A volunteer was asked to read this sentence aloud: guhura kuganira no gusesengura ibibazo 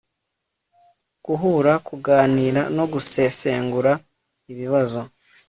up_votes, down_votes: 2, 0